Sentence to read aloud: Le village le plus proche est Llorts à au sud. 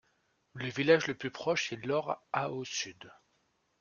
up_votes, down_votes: 2, 1